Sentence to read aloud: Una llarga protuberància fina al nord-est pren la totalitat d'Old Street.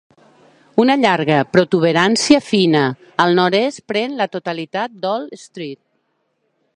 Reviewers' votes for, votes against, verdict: 2, 1, accepted